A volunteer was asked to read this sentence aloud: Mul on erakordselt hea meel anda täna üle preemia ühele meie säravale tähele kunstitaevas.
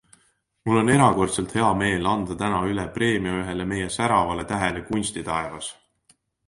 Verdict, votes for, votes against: accepted, 2, 0